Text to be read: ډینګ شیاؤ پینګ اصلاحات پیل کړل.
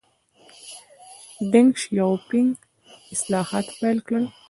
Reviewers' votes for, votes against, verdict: 2, 0, accepted